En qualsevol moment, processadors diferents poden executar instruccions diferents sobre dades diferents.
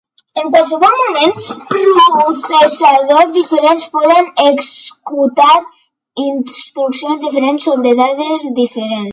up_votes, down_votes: 1, 2